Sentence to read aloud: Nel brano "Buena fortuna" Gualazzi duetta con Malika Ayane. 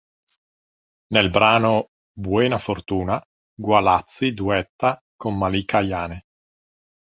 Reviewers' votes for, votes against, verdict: 2, 0, accepted